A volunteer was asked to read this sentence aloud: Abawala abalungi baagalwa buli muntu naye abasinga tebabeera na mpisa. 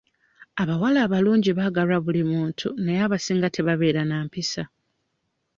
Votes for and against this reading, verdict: 2, 0, accepted